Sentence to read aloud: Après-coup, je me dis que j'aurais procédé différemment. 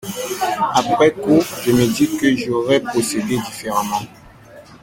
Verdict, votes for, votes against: accepted, 2, 0